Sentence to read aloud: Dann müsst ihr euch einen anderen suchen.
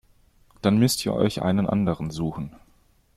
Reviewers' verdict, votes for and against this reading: accepted, 2, 0